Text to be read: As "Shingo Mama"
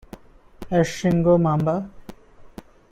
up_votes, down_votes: 2, 1